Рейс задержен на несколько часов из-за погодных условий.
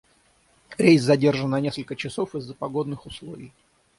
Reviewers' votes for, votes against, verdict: 3, 3, rejected